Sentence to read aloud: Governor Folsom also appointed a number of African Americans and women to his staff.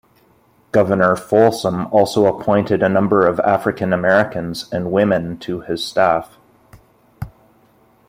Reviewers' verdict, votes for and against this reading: accepted, 2, 1